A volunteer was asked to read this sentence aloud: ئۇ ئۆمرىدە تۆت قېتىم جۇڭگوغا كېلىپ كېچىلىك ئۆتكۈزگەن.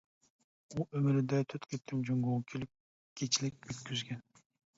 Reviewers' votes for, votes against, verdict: 0, 2, rejected